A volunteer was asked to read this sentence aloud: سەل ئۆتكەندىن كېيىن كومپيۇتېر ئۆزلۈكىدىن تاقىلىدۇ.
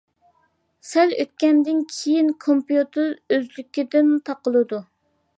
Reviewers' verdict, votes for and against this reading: accepted, 2, 0